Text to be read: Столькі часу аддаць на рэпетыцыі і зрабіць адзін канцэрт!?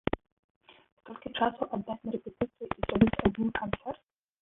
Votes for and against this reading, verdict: 0, 2, rejected